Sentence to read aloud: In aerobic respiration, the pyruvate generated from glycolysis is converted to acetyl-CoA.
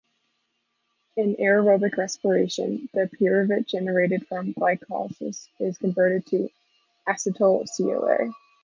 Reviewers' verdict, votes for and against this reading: accepted, 2, 0